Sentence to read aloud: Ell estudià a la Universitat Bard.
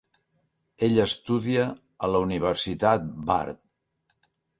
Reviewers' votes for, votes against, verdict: 1, 2, rejected